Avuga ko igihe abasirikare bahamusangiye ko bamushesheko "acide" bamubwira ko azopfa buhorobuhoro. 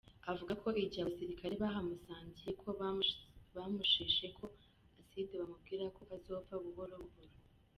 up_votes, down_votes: 2, 1